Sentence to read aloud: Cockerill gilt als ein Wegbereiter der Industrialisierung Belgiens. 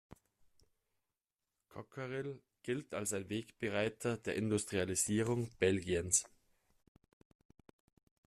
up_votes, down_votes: 2, 0